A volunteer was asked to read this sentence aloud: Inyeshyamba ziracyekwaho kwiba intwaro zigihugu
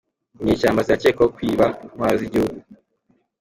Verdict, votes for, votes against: accepted, 2, 0